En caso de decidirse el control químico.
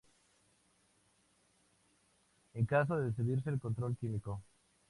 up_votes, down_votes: 4, 0